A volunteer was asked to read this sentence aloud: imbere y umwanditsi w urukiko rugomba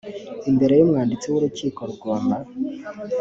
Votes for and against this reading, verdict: 2, 0, accepted